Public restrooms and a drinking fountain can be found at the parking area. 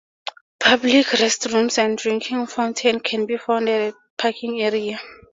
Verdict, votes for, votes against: accepted, 2, 0